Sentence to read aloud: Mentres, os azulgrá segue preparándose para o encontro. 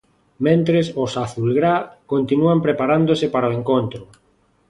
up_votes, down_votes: 0, 2